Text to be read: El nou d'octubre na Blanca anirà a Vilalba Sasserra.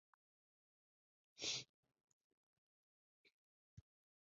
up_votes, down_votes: 2, 8